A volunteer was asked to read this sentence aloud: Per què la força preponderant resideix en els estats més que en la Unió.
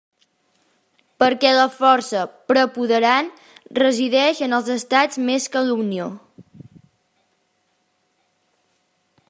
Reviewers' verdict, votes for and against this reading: rejected, 0, 2